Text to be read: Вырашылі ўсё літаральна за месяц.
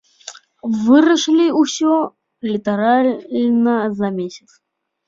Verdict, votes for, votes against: accepted, 2, 0